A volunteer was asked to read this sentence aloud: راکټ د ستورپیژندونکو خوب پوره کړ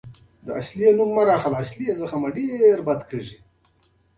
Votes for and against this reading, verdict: 1, 2, rejected